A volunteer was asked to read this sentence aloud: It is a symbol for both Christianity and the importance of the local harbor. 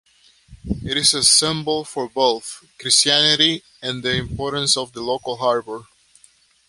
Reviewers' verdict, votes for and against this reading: accepted, 3, 0